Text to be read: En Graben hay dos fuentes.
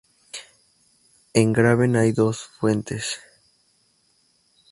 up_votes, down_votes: 2, 0